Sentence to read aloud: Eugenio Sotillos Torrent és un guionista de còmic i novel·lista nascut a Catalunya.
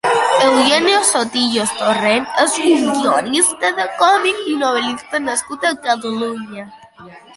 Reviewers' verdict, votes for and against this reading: rejected, 1, 2